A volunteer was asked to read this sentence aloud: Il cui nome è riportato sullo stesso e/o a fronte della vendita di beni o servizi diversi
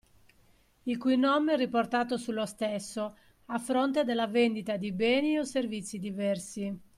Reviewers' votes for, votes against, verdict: 0, 2, rejected